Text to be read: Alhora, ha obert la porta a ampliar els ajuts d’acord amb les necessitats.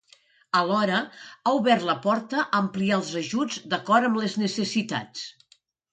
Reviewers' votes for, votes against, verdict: 2, 0, accepted